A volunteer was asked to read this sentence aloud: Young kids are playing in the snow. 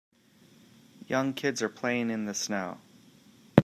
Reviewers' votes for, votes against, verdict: 2, 0, accepted